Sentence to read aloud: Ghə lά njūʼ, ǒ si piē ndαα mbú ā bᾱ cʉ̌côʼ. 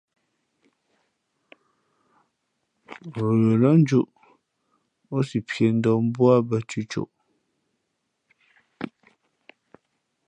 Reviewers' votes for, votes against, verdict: 2, 0, accepted